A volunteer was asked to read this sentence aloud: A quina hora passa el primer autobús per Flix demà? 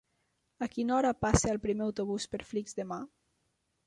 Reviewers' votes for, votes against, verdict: 3, 0, accepted